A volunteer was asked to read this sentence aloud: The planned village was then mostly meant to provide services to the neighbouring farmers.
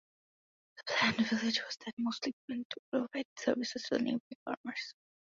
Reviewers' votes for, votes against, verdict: 0, 2, rejected